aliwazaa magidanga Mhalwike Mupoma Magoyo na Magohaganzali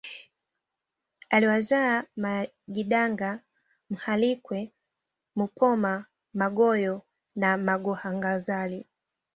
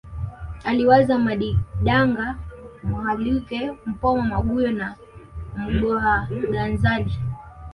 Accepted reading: first